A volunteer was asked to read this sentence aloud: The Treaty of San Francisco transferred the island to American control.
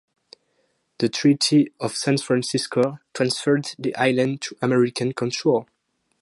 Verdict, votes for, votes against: accepted, 2, 0